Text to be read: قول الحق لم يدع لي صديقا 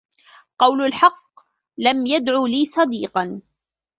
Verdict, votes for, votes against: rejected, 0, 2